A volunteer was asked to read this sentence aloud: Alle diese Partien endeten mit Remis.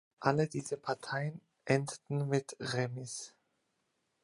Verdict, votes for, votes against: rejected, 0, 2